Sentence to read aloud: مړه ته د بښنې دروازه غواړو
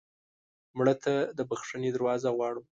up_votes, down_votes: 2, 0